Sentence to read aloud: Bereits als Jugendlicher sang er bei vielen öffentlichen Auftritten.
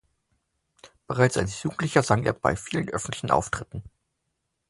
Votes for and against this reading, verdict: 2, 0, accepted